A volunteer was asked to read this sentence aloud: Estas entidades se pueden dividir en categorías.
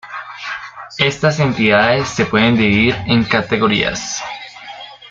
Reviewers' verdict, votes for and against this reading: accepted, 2, 0